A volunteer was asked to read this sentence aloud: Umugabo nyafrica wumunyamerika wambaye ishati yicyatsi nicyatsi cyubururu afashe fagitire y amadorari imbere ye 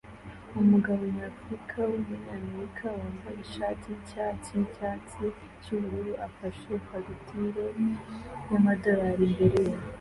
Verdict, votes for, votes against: accepted, 2, 1